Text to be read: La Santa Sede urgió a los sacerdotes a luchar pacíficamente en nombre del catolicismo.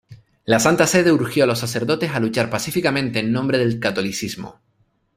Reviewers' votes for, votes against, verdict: 1, 2, rejected